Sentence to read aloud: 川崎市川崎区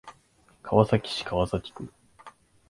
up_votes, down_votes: 2, 0